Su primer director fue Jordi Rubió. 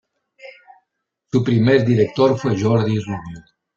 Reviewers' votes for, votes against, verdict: 0, 2, rejected